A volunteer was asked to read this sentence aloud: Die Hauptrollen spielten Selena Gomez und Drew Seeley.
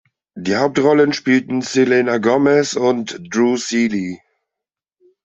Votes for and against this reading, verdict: 2, 0, accepted